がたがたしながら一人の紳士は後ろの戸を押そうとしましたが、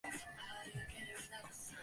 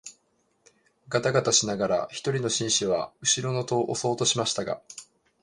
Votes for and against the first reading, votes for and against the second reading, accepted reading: 0, 2, 2, 0, second